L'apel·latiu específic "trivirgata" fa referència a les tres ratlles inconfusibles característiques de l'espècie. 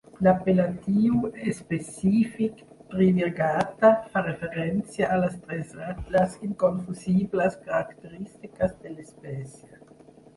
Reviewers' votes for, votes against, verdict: 0, 2, rejected